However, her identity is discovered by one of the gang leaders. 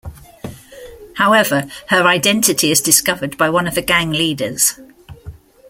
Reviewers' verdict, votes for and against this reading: accepted, 2, 0